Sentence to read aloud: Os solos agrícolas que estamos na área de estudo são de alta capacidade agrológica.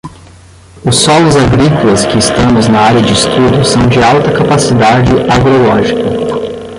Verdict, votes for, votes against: rejected, 0, 10